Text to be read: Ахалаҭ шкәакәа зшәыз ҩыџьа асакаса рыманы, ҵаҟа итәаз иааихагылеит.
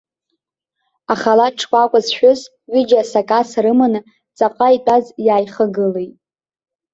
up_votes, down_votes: 2, 0